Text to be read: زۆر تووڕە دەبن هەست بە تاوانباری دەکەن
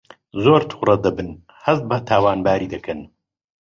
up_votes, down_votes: 2, 0